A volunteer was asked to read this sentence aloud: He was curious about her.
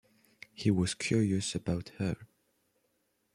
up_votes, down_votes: 2, 0